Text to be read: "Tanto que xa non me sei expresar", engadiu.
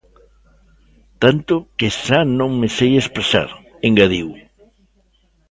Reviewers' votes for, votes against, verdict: 0, 2, rejected